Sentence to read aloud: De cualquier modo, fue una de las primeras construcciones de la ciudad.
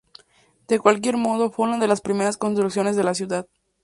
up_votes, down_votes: 0, 2